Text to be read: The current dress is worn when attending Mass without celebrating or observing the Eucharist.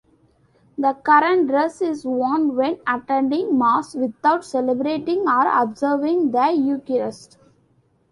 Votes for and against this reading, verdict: 2, 0, accepted